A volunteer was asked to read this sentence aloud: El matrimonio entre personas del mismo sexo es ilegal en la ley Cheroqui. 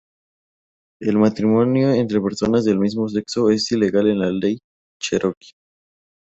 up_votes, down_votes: 4, 0